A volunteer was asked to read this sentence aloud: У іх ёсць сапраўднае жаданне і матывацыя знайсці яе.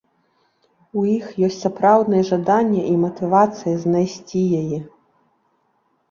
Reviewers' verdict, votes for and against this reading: accepted, 2, 0